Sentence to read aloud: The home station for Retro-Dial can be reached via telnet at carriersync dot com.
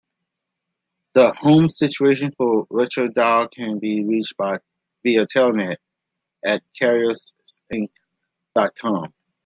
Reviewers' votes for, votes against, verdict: 0, 2, rejected